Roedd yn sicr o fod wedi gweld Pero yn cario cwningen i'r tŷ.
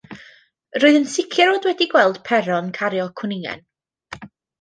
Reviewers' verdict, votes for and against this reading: rejected, 0, 2